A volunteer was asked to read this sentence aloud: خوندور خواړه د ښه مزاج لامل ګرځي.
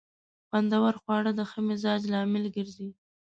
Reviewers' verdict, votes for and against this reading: accepted, 2, 0